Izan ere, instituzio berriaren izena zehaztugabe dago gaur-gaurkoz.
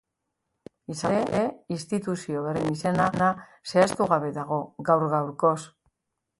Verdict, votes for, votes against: rejected, 0, 2